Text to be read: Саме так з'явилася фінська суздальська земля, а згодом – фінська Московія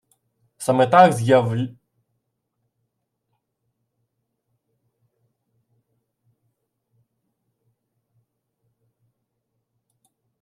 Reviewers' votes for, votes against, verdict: 0, 2, rejected